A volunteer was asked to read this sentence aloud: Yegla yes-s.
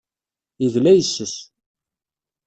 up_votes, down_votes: 1, 2